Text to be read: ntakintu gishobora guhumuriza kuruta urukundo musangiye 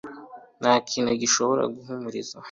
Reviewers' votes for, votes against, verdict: 1, 3, rejected